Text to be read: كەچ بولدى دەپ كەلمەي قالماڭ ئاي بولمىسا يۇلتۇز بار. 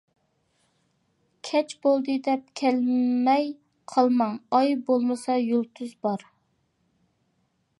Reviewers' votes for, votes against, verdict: 2, 0, accepted